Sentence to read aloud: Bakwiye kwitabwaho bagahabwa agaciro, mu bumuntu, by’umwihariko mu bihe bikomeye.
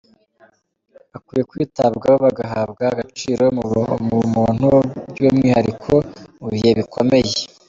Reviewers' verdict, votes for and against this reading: rejected, 1, 3